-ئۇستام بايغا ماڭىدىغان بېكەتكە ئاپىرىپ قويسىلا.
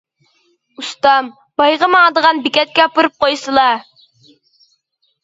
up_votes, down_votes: 2, 0